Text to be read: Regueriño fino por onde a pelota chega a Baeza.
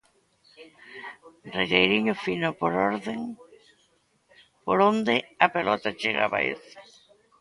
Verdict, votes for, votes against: rejected, 0, 2